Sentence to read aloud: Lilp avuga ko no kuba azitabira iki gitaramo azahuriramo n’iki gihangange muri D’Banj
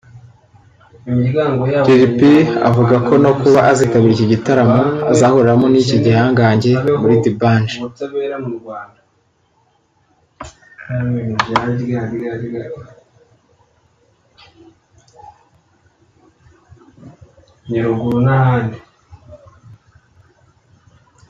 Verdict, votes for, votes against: rejected, 0, 2